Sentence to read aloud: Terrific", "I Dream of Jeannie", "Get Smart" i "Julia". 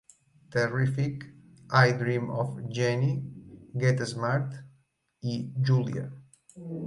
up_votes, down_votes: 1, 2